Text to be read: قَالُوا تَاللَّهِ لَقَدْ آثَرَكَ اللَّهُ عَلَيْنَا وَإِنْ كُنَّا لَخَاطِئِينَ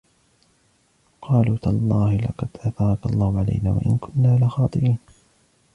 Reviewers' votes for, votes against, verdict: 0, 2, rejected